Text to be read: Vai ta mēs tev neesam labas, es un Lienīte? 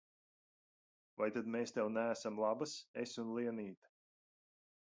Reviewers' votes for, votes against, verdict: 1, 2, rejected